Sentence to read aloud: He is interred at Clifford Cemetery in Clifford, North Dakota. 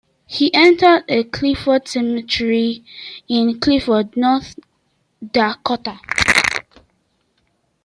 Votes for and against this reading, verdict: 2, 1, accepted